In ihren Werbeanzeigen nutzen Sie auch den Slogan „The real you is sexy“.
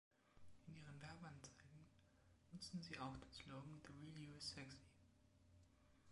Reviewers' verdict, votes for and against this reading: rejected, 0, 2